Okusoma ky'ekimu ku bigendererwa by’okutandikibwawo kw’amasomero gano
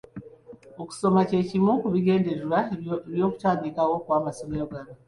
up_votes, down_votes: 2, 0